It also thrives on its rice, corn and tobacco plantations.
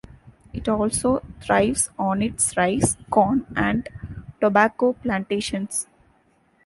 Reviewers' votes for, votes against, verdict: 2, 0, accepted